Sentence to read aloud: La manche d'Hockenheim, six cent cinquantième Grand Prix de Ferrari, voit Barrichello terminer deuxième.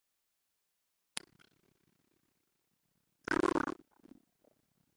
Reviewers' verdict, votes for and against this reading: rejected, 0, 3